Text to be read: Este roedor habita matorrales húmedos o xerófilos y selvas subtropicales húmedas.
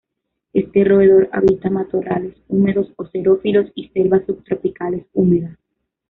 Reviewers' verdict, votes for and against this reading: rejected, 1, 2